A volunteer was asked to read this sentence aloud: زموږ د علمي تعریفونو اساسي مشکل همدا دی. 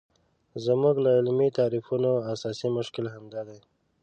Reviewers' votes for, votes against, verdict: 2, 0, accepted